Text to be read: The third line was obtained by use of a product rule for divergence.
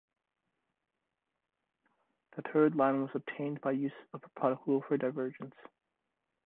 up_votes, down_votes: 1, 2